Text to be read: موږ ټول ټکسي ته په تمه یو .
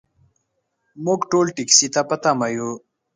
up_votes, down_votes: 2, 0